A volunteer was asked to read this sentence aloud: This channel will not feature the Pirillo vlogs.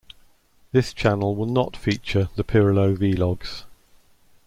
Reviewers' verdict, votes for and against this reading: accepted, 2, 1